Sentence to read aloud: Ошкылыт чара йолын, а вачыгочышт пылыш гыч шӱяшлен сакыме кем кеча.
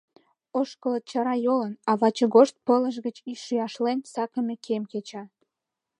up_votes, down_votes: 1, 2